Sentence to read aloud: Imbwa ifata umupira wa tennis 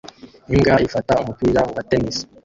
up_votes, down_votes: 1, 2